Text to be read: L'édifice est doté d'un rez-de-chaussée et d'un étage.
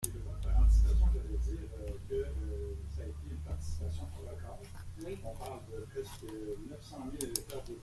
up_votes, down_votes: 0, 2